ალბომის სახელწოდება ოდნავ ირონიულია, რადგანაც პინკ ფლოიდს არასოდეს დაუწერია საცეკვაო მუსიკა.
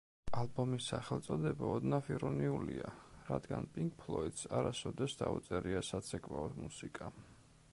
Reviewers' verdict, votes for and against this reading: rejected, 0, 2